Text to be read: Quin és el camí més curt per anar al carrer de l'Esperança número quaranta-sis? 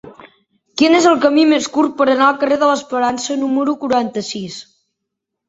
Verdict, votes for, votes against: accepted, 3, 1